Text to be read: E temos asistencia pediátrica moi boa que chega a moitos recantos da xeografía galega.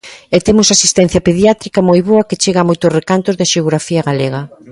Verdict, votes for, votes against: accepted, 2, 0